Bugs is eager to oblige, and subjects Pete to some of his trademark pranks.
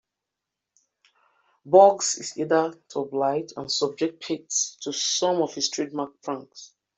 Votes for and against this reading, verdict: 2, 1, accepted